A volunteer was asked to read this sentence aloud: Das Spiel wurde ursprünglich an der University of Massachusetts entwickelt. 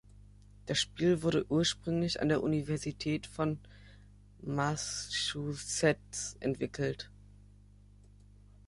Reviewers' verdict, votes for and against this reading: rejected, 0, 2